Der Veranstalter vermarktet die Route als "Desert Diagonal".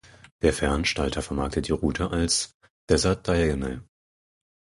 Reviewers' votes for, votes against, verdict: 2, 4, rejected